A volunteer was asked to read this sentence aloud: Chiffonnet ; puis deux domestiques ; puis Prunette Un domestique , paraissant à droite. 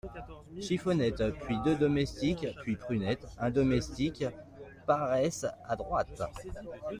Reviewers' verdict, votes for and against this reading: rejected, 0, 2